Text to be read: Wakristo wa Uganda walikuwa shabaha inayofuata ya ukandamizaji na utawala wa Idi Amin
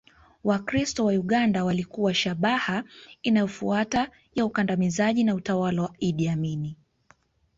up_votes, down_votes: 2, 0